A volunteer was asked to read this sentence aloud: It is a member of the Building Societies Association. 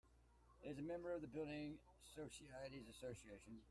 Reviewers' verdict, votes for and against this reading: rejected, 1, 2